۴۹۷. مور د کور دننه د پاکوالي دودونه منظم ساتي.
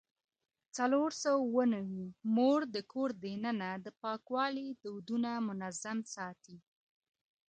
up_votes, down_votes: 0, 2